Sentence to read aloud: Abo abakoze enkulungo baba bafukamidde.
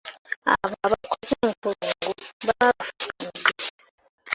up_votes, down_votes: 0, 2